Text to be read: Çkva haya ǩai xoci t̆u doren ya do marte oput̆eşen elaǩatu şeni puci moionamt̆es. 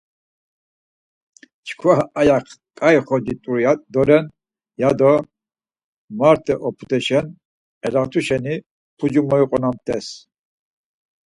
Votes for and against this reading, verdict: 0, 4, rejected